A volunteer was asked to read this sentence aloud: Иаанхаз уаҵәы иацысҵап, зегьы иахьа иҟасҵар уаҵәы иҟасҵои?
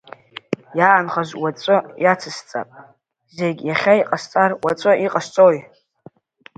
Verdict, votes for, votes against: accepted, 2, 1